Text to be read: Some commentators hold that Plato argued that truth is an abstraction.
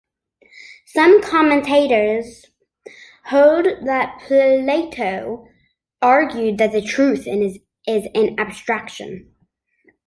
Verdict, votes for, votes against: rejected, 0, 2